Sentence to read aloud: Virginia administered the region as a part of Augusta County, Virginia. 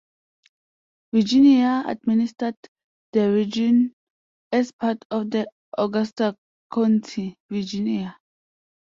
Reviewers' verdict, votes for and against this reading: rejected, 0, 2